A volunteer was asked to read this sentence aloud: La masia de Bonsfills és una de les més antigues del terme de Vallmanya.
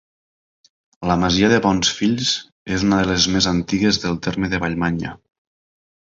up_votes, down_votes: 2, 0